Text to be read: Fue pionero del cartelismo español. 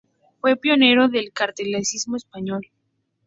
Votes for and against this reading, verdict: 0, 2, rejected